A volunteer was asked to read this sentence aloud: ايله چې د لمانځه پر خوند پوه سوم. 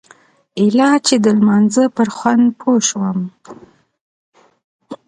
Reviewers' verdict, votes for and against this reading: rejected, 1, 2